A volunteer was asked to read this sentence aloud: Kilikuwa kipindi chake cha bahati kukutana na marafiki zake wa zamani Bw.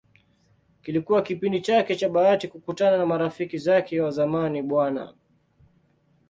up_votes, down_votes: 2, 0